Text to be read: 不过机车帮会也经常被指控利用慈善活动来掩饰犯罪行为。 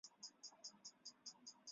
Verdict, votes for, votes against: rejected, 0, 3